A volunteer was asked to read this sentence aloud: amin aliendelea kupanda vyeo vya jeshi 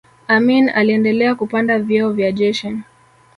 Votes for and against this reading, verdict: 1, 2, rejected